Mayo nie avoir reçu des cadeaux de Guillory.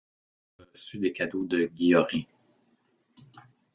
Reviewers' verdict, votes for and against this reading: rejected, 0, 2